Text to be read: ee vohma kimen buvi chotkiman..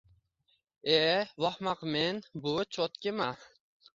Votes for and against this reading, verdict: 1, 2, rejected